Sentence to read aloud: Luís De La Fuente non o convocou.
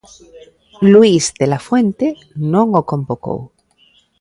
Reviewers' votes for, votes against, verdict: 1, 2, rejected